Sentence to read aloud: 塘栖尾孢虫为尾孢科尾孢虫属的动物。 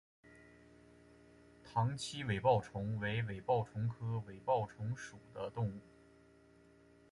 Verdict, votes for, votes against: accepted, 4, 0